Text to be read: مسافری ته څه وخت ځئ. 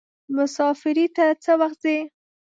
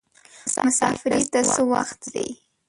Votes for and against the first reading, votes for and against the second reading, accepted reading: 2, 0, 0, 2, first